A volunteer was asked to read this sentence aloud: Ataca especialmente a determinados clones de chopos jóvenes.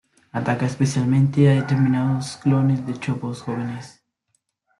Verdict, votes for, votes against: accepted, 2, 1